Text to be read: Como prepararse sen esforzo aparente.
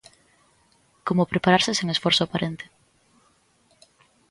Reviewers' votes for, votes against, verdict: 2, 0, accepted